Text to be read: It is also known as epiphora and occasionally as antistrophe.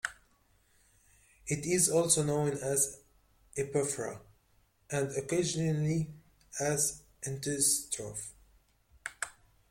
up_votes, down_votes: 2, 0